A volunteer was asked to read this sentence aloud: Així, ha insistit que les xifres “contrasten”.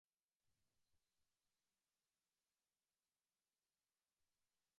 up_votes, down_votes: 0, 2